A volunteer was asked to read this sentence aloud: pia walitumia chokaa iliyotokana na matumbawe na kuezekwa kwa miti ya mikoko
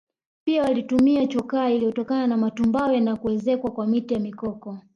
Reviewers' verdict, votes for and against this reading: rejected, 1, 2